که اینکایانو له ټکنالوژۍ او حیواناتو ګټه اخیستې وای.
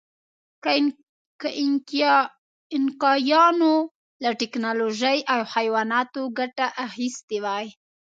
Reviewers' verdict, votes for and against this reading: accepted, 2, 0